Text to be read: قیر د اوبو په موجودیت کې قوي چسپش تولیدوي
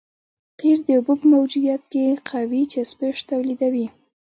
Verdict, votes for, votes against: accepted, 2, 0